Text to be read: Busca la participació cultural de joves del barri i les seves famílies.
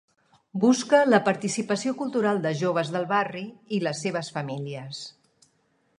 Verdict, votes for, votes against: accepted, 3, 0